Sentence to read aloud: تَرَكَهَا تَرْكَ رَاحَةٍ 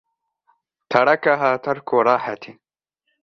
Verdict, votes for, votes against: rejected, 0, 2